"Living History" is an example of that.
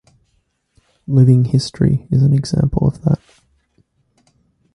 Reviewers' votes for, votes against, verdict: 2, 1, accepted